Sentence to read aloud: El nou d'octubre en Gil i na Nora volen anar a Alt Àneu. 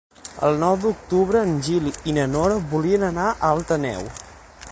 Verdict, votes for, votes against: rejected, 3, 6